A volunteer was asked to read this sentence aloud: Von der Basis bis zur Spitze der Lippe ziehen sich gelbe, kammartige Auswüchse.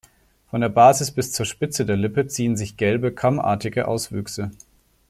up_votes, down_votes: 2, 0